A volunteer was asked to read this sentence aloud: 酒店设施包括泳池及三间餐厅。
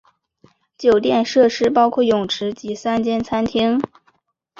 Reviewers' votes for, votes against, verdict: 4, 0, accepted